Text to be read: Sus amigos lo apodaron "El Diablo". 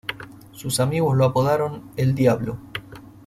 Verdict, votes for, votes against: rejected, 0, 2